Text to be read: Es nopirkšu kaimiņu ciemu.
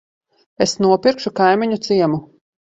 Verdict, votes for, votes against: accepted, 2, 0